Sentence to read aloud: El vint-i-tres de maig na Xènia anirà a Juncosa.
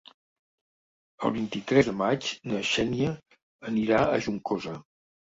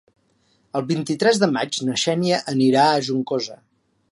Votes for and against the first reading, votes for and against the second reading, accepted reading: 1, 2, 3, 0, second